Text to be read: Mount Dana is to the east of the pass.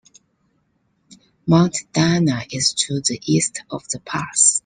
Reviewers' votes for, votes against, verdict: 2, 1, accepted